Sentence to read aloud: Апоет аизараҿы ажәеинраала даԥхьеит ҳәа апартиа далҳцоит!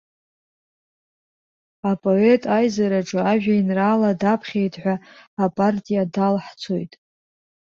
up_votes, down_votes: 2, 0